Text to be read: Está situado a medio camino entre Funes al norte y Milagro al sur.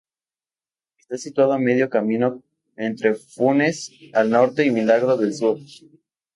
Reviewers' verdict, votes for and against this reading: rejected, 2, 2